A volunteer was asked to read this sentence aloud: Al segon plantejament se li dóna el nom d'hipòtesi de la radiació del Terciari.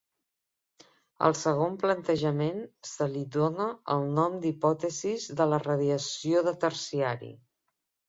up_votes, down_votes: 0, 3